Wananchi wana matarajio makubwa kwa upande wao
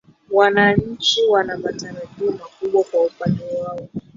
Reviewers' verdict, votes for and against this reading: rejected, 3, 4